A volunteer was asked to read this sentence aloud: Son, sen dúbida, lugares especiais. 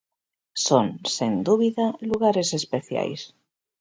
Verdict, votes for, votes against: accepted, 2, 0